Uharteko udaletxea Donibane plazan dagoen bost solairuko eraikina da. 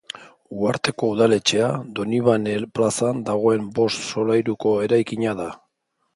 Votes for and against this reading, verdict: 2, 0, accepted